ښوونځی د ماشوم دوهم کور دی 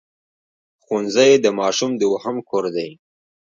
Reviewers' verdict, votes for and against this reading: accepted, 2, 0